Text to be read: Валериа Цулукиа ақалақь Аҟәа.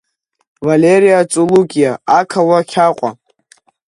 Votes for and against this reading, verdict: 2, 0, accepted